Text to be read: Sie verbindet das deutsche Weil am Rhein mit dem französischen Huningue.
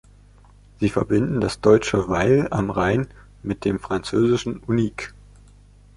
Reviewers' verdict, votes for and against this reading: rejected, 0, 2